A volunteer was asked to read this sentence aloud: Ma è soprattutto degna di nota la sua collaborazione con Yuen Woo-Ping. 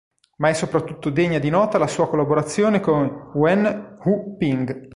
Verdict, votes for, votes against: rejected, 1, 2